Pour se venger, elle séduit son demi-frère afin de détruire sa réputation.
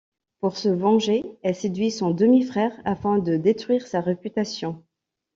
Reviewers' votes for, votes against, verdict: 2, 0, accepted